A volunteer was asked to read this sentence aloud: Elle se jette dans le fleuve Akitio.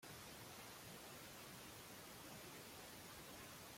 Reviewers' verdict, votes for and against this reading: rejected, 1, 2